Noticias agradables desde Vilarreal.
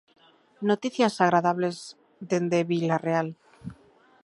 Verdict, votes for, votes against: rejected, 0, 2